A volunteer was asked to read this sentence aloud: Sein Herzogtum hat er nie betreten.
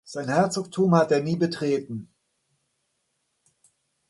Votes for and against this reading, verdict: 2, 0, accepted